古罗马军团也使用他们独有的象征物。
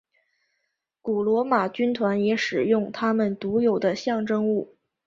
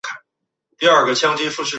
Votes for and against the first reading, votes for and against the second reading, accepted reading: 2, 0, 0, 2, first